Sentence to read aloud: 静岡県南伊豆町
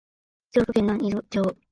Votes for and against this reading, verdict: 0, 5, rejected